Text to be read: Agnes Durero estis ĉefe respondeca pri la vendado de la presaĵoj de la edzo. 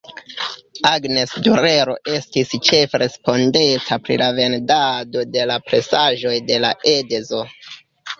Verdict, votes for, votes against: rejected, 1, 2